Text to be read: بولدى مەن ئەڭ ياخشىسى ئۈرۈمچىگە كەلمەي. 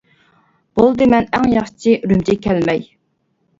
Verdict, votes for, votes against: rejected, 1, 2